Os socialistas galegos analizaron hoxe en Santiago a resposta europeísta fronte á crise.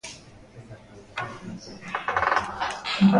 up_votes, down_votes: 0, 2